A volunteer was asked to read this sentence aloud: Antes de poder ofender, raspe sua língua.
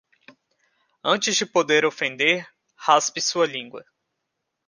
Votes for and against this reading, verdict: 2, 0, accepted